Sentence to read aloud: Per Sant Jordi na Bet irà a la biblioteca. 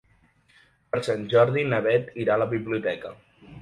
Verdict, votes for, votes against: accepted, 3, 0